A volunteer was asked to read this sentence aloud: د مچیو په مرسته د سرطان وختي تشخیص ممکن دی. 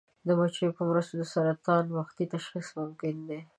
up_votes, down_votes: 2, 0